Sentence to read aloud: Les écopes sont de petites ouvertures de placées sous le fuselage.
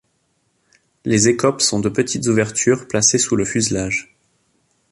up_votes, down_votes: 0, 2